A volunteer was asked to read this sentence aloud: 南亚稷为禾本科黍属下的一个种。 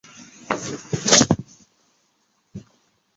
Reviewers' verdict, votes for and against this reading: rejected, 1, 3